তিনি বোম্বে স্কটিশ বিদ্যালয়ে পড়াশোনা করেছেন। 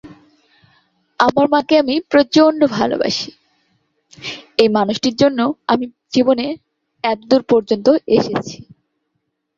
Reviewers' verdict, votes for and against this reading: rejected, 0, 2